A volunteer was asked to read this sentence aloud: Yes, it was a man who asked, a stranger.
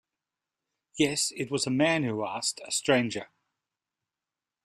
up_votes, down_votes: 2, 0